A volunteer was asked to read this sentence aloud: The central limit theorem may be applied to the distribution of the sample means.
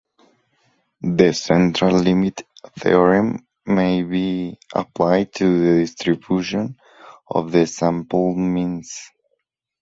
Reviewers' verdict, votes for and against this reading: accepted, 6, 0